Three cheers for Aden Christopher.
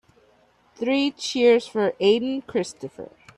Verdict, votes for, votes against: accepted, 2, 0